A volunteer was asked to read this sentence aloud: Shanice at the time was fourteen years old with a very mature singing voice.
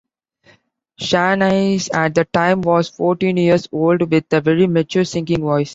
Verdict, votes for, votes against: accepted, 2, 0